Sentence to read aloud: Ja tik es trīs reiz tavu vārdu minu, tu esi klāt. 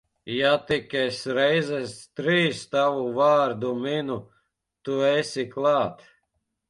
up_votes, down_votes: 0, 2